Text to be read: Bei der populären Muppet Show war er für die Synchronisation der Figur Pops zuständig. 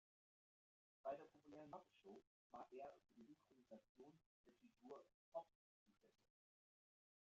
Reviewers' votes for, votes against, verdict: 0, 2, rejected